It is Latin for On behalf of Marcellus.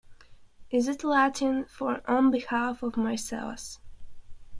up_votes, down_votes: 1, 2